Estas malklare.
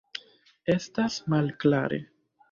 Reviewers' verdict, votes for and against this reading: accepted, 2, 0